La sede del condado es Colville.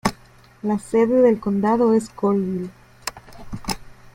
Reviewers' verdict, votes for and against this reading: rejected, 1, 3